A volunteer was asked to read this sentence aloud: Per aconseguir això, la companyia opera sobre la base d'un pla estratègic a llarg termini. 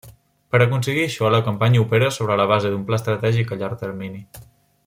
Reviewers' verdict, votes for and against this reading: rejected, 0, 2